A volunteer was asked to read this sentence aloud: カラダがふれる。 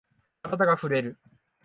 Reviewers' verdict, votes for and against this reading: accepted, 6, 0